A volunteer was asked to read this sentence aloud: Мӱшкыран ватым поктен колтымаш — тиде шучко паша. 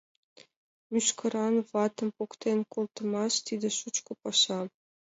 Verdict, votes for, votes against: accepted, 2, 0